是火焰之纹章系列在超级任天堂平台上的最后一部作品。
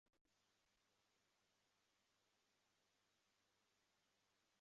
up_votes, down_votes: 0, 2